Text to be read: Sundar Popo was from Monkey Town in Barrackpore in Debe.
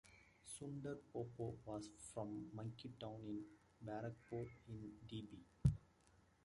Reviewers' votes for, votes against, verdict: 2, 0, accepted